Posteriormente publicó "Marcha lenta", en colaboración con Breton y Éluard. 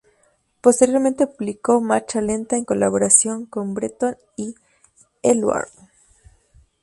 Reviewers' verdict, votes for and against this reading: rejected, 0, 2